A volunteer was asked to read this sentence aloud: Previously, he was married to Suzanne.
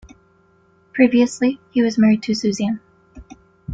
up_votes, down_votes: 2, 0